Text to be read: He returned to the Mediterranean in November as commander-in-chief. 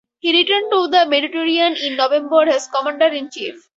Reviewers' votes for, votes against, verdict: 4, 0, accepted